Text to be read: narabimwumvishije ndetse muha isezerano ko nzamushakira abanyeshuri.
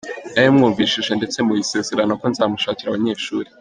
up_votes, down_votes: 3, 0